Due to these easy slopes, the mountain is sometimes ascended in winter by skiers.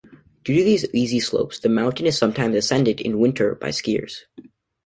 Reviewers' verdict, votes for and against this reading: accepted, 2, 0